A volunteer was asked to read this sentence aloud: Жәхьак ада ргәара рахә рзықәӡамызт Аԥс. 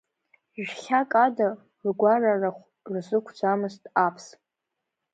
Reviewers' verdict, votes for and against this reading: rejected, 1, 2